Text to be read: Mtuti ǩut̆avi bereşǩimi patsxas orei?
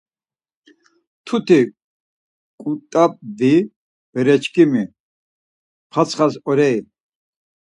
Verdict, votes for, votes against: rejected, 2, 4